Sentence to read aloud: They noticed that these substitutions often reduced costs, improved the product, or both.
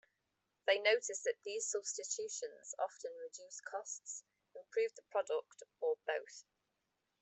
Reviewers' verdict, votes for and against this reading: accepted, 2, 0